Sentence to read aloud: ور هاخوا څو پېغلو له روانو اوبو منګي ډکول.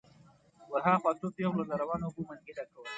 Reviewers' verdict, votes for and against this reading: accepted, 2, 0